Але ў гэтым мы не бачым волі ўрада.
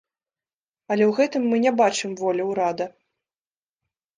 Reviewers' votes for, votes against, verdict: 2, 0, accepted